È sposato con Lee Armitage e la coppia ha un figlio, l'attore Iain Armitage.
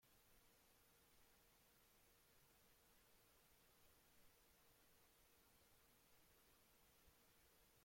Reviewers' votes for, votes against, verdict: 0, 2, rejected